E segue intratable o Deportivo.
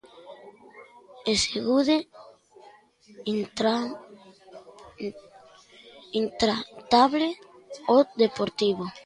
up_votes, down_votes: 0, 2